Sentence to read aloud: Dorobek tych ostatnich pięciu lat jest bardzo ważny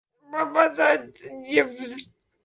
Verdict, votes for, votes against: rejected, 0, 2